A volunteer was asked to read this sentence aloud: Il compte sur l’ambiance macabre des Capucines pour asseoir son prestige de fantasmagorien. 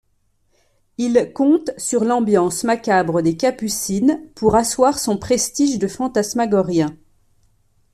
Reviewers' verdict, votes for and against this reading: accepted, 2, 0